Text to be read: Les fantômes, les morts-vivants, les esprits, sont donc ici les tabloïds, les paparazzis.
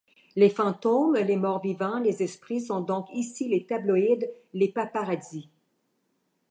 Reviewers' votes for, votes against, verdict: 2, 0, accepted